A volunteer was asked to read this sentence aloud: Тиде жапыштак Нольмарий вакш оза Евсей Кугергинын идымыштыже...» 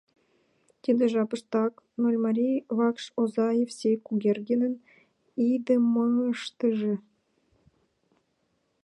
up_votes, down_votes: 1, 2